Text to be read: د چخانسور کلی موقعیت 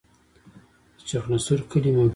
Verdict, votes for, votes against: accepted, 2, 0